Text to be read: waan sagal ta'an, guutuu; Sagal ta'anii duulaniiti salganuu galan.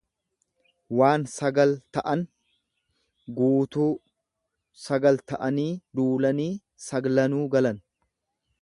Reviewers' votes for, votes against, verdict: 2, 0, accepted